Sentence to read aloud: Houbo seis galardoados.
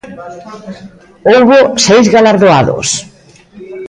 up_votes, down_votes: 0, 2